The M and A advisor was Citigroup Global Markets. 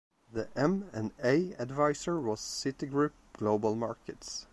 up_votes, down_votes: 3, 0